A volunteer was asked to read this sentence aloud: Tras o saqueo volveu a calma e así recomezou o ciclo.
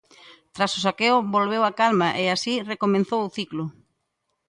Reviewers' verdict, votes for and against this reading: rejected, 1, 2